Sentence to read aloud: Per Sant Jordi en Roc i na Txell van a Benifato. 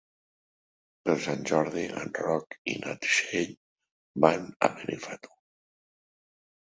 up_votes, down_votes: 0, 2